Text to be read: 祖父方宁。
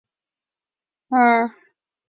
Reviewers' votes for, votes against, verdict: 0, 2, rejected